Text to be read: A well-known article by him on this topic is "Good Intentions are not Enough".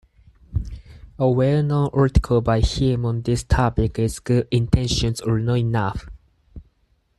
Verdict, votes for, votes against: rejected, 2, 4